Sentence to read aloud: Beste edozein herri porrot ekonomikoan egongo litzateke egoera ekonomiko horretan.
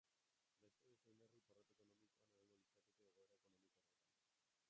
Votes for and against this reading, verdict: 0, 2, rejected